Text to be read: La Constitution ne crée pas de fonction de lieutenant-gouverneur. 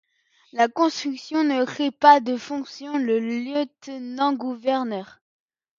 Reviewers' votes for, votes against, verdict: 0, 2, rejected